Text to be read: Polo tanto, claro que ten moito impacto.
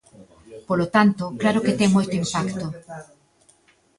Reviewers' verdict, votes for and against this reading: accepted, 2, 0